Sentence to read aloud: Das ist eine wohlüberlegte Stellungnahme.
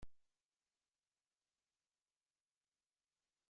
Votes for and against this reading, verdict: 0, 2, rejected